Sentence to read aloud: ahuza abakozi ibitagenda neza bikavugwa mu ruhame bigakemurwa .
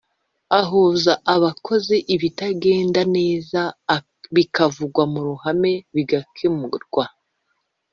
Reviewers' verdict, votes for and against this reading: rejected, 0, 2